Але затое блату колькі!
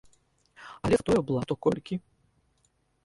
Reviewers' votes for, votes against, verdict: 0, 2, rejected